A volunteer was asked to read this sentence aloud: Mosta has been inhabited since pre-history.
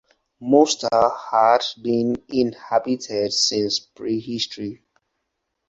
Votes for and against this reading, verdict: 4, 0, accepted